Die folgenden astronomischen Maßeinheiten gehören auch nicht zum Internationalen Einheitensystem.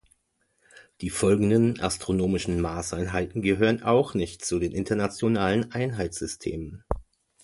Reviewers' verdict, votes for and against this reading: rejected, 1, 2